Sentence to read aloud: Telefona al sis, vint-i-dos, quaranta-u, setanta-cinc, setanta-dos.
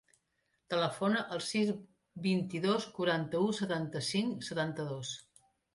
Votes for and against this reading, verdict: 3, 0, accepted